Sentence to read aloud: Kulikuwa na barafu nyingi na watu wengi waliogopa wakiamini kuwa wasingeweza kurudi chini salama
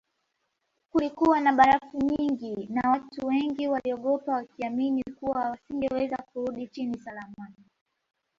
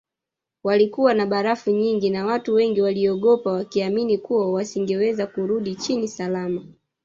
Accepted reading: first